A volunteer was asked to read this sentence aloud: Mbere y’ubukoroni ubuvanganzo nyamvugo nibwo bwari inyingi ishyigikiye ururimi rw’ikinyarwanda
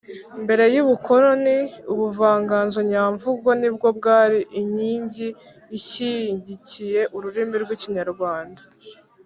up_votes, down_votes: 2, 0